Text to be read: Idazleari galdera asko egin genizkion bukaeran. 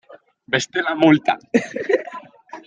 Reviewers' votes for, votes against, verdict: 0, 2, rejected